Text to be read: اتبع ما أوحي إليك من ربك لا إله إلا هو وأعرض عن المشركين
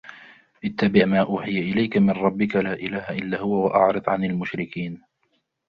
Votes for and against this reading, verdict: 2, 0, accepted